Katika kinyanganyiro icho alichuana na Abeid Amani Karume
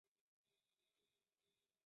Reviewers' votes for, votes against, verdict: 0, 2, rejected